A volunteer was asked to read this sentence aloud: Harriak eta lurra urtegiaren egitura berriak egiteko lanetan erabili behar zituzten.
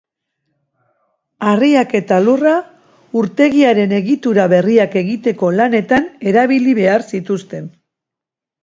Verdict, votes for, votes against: accepted, 3, 0